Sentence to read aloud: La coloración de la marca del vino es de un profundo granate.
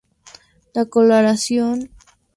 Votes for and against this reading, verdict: 0, 2, rejected